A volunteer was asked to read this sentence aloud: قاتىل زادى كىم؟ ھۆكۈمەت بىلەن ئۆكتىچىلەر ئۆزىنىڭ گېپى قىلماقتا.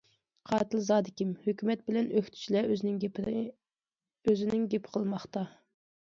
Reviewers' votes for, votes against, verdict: 0, 2, rejected